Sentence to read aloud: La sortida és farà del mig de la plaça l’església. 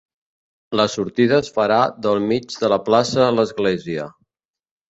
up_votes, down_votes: 2, 3